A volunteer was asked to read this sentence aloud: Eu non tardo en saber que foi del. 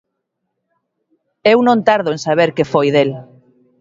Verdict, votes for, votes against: accepted, 2, 1